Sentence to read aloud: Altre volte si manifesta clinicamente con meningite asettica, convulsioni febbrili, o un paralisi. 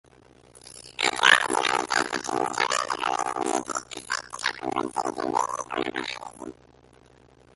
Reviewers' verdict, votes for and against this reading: rejected, 0, 3